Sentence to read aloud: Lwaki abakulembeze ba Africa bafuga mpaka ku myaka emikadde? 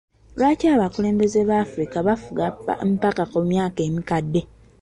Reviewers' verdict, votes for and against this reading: accepted, 2, 1